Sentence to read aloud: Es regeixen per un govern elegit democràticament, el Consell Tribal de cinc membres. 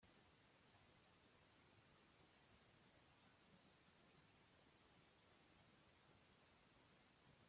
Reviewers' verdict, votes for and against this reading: rejected, 0, 2